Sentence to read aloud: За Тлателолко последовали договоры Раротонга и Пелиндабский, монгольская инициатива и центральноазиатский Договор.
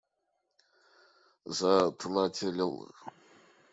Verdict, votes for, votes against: rejected, 0, 2